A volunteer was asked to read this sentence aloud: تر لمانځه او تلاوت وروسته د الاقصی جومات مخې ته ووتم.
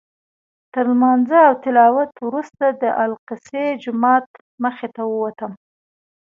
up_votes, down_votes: 2, 0